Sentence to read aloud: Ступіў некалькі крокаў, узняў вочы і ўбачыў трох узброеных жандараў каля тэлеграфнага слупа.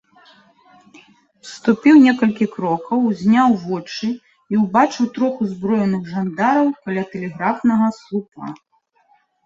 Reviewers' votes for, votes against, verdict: 2, 0, accepted